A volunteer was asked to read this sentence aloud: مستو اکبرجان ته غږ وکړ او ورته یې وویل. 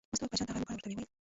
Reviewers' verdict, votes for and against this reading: rejected, 0, 2